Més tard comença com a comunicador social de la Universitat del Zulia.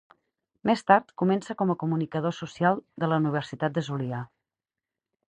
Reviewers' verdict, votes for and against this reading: rejected, 0, 2